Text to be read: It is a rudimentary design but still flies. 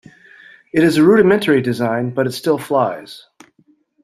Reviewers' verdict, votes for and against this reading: rejected, 0, 2